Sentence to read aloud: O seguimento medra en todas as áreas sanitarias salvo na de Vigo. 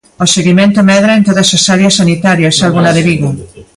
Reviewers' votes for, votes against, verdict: 1, 2, rejected